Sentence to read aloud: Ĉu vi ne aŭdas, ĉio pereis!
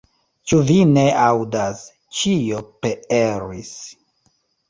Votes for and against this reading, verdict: 0, 2, rejected